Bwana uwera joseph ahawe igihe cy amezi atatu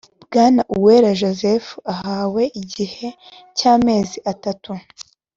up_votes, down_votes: 2, 0